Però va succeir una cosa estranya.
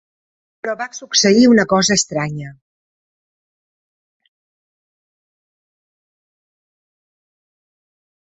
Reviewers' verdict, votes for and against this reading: accepted, 4, 0